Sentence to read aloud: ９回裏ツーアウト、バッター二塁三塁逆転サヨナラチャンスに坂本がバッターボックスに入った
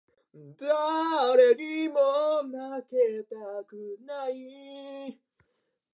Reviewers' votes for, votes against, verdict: 0, 2, rejected